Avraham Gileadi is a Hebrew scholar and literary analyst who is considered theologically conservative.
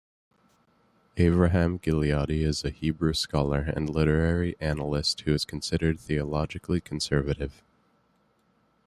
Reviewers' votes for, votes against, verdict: 2, 0, accepted